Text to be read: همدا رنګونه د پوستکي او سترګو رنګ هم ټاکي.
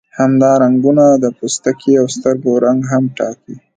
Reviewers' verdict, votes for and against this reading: accepted, 2, 1